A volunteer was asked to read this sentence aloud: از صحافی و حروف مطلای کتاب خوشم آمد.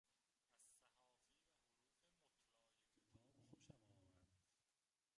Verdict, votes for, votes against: rejected, 0, 2